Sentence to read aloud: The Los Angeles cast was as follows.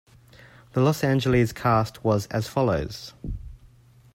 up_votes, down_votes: 2, 1